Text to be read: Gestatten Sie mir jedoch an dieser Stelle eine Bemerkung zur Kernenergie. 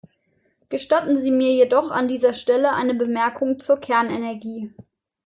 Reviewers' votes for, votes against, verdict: 2, 0, accepted